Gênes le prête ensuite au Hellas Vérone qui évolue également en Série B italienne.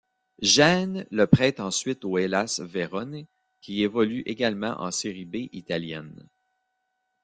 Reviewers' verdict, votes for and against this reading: rejected, 1, 2